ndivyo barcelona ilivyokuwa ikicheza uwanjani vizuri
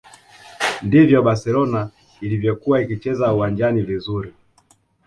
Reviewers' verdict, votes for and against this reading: accepted, 2, 0